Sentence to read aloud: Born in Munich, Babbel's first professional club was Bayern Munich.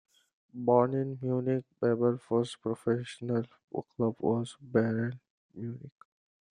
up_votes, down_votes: 1, 2